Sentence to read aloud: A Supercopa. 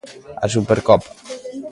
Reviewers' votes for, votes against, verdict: 1, 2, rejected